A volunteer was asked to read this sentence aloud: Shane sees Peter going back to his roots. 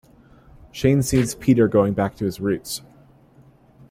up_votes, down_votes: 3, 0